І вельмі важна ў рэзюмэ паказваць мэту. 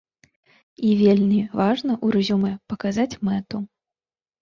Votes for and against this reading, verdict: 0, 2, rejected